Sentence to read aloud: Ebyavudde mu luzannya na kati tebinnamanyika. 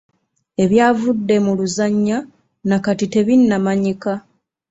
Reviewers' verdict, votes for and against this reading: accepted, 2, 0